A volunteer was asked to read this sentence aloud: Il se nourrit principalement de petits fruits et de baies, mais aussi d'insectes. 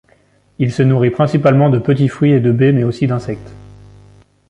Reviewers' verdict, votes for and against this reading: accepted, 3, 0